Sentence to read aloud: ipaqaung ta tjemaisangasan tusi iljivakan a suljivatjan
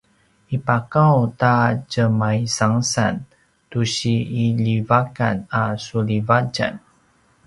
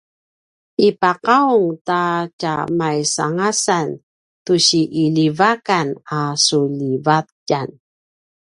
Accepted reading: first